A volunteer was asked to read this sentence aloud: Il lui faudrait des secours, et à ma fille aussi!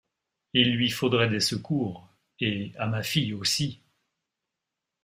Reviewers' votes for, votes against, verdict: 2, 0, accepted